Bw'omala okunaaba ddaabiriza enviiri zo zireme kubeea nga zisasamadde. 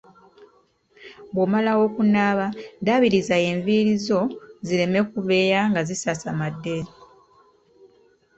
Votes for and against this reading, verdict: 2, 0, accepted